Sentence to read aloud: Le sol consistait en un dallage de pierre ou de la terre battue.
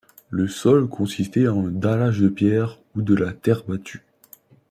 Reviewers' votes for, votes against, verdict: 1, 2, rejected